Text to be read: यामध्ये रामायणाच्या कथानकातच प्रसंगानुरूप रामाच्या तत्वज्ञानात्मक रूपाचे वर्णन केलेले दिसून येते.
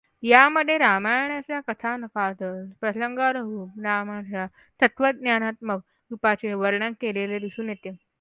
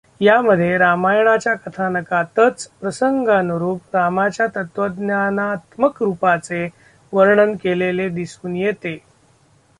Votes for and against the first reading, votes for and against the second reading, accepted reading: 0, 2, 2, 0, second